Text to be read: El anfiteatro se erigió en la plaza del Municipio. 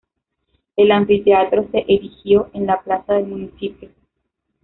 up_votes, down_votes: 0, 2